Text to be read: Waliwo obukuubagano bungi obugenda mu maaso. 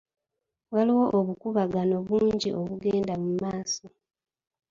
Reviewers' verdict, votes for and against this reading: rejected, 0, 2